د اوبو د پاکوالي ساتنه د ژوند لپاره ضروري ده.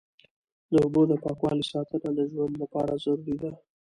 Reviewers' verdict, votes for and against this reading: accepted, 2, 0